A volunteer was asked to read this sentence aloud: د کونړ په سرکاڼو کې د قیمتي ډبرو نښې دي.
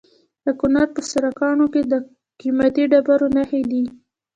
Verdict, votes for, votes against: rejected, 1, 2